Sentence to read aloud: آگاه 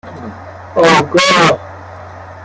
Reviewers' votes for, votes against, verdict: 1, 2, rejected